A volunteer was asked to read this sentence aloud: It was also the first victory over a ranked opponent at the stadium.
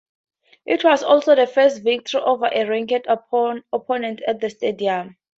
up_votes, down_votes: 2, 2